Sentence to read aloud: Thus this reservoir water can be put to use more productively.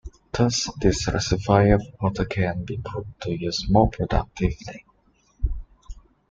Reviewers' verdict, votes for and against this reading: rejected, 1, 2